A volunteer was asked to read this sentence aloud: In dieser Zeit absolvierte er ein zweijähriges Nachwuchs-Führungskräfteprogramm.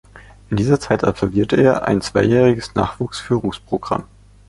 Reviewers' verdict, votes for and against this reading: rejected, 0, 2